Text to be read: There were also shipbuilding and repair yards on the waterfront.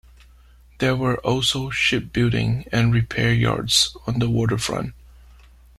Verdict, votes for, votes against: accepted, 2, 1